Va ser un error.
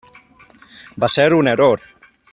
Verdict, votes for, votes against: rejected, 1, 2